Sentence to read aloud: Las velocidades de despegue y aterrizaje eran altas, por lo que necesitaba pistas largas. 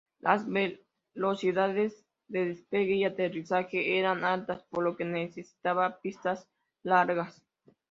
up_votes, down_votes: 0, 2